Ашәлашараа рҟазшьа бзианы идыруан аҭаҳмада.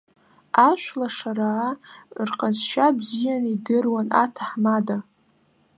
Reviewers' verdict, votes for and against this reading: accepted, 2, 1